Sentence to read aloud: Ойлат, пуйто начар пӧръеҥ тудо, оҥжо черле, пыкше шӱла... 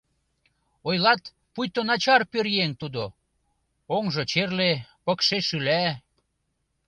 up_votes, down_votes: 0, 2